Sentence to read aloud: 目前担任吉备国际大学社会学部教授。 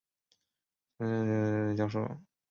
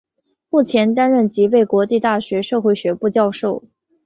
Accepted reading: second